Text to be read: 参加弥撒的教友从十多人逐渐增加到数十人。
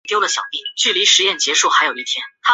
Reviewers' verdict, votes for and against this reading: rejected, 1, 2